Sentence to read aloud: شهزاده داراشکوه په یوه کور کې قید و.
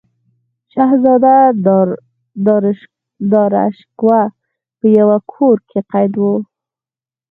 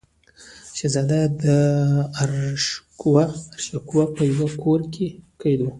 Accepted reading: second